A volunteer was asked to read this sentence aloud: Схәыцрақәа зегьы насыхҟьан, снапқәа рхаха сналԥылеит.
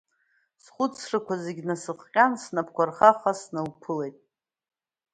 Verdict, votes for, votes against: accepted, 2, 0